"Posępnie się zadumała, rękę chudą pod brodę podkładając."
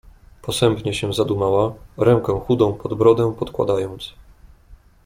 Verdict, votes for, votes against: accepted, 2, 0